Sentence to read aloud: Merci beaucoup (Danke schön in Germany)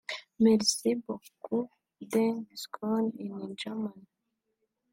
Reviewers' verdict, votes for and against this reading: rejected, 1, 2